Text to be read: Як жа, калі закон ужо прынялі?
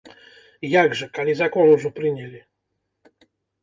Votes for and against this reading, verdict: 2, 0, accepted